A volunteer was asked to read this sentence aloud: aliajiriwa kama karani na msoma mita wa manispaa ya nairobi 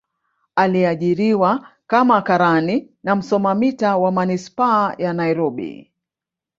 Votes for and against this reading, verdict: 2, 1, accepted